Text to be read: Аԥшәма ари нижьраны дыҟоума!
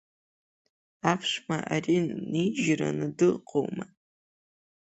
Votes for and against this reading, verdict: 3, 0, accepted